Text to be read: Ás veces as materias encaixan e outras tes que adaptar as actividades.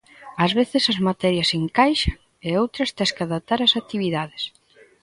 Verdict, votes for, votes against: rejected, 0, 2